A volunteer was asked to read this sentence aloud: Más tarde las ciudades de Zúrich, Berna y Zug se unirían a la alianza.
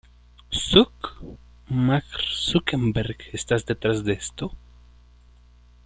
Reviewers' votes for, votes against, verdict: 0, 3, rejected